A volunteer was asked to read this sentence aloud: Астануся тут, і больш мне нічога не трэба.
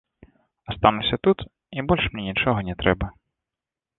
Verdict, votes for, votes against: accepted, 2, 0